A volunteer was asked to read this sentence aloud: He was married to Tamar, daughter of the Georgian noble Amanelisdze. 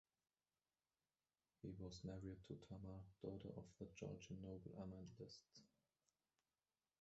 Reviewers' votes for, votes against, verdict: 0, 2, rejected